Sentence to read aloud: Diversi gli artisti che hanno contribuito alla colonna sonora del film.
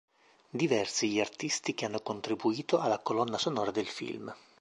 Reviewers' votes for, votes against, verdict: 2, 0, accepted